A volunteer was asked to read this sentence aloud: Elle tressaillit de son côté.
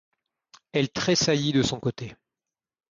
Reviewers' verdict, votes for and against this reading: accepted, 2, 0